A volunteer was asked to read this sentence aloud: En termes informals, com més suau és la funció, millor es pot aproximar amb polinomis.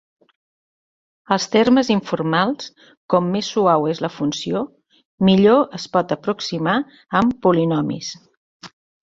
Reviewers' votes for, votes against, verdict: 0, 2, rejected